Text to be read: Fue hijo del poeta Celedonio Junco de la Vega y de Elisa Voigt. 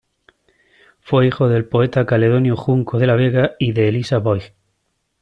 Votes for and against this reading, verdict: 0, 2, rejected